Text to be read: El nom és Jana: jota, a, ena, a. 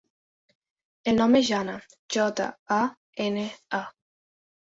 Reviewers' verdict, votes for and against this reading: accepted, 2, 1